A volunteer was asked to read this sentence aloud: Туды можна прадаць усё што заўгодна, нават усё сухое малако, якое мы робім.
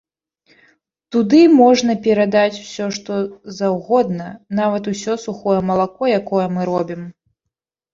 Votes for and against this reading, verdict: 0, 2, rejected